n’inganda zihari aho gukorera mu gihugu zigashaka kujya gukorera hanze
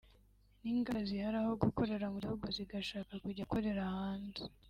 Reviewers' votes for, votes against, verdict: 0, 2, rejected